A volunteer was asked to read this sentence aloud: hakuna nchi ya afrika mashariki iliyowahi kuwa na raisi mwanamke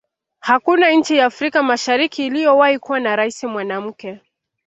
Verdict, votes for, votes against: rejected, 1, 2